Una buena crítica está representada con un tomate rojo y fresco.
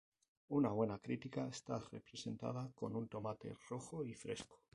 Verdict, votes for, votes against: rejected, 0, 2